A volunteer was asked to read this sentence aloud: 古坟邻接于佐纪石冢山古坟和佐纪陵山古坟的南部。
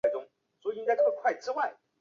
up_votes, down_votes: 0, 2